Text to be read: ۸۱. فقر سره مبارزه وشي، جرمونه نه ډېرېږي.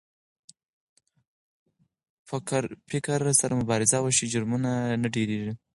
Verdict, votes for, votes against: rejected, 0, 2